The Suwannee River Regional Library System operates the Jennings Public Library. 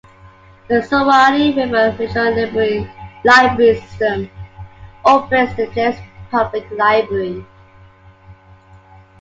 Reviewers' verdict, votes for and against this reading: accepted, 2, 1